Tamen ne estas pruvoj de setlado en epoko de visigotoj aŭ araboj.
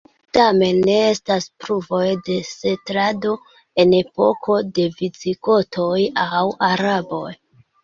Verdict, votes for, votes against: accepted, 2, 0